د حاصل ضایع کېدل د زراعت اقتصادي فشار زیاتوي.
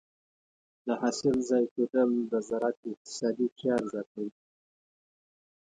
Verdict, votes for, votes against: accepted, 2, 0